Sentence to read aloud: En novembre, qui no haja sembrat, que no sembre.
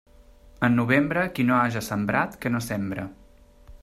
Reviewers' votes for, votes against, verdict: 2, 0, accepted